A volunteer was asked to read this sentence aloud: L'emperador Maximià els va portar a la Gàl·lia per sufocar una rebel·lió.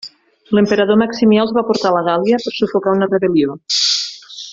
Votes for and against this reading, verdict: 0, 2, rejected